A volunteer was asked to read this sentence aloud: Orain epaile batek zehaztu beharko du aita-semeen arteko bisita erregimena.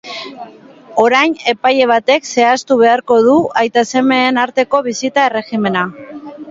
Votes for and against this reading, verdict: 2, 0, accepted